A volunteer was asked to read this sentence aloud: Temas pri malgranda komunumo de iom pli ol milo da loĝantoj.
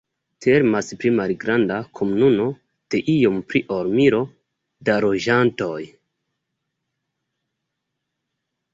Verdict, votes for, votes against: rejected, 0, 3